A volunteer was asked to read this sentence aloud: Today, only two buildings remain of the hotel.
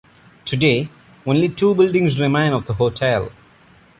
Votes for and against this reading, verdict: 2, 0, accepted